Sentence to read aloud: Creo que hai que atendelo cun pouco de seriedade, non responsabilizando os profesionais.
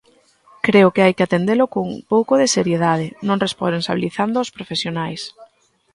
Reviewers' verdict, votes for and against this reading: rejected, 0, 2